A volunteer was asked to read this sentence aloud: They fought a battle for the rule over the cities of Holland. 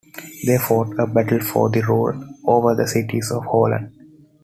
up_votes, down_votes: 2, 1